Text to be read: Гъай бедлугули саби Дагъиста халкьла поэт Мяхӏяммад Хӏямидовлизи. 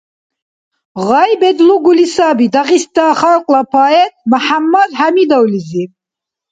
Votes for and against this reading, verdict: 2, 0, accepted